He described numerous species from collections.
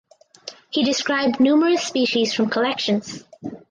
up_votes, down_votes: 4, 0